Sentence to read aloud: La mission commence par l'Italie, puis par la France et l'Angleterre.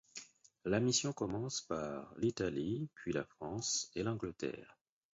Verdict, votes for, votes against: rejected, 2, 4